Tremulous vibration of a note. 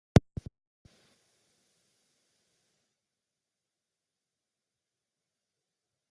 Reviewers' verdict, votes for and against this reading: rejected, 0, 2